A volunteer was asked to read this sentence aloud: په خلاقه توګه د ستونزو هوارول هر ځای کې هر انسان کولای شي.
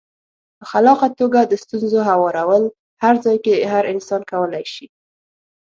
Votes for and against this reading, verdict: 6, 0, accepted